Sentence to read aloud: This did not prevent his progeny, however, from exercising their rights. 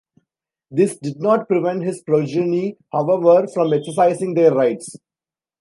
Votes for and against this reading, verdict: 1, 2, rejected